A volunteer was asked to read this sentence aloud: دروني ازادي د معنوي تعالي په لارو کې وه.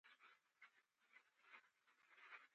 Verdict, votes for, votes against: rejected, 1, 2